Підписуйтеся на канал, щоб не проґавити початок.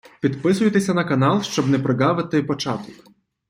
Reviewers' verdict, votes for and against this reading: accepted, 2, 0